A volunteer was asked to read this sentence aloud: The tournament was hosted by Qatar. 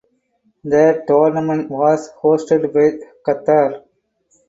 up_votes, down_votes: 2, 4